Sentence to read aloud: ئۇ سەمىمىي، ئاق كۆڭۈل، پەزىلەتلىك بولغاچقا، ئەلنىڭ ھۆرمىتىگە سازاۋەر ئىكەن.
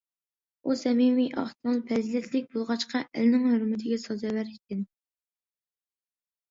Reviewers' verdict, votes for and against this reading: accepted, 2, 0